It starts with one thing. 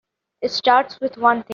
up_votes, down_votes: 1, 2